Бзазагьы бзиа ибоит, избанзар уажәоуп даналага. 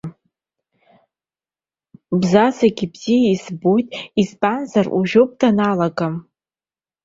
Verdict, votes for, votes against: accepted, 2, 1